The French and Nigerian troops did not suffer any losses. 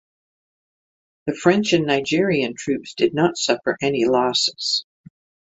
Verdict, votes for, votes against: accepted, 6, 0